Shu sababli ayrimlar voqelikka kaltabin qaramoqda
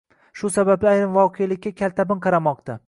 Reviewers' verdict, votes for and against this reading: rejected, 1, 2